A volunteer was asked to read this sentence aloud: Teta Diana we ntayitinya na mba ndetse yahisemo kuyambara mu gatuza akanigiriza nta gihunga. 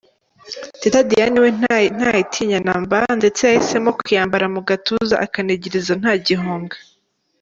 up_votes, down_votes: 1, 2